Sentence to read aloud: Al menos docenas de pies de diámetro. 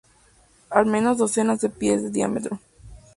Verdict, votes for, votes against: accepted, 2, 0